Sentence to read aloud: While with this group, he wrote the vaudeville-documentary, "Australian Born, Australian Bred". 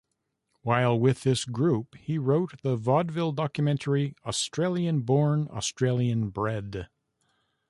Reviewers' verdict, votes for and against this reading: rejected, 1, 2